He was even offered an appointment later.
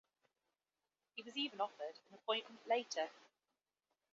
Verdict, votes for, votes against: accepted, 3, 0